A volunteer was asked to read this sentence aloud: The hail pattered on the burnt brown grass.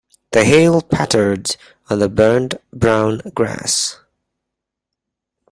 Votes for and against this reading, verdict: 2, 0, accepted